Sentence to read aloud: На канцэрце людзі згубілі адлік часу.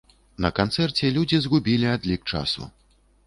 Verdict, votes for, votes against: accepted, 2, 0